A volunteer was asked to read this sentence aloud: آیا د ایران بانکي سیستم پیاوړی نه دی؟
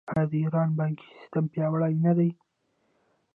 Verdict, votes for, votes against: rejected, 1, 2